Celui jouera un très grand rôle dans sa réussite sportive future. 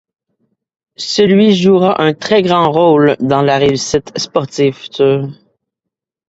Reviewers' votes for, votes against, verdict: 0, 2, rejected